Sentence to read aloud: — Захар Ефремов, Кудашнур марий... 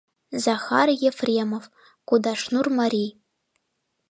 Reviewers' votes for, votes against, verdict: 2, 0, accepted